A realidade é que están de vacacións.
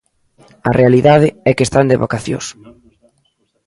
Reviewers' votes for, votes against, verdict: 2, 0, accepted